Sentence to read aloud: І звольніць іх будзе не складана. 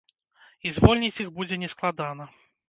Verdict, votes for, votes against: accepted, 2, 0